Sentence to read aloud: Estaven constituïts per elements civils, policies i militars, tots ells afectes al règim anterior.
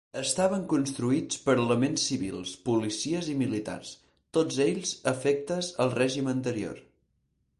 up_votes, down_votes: 2, 4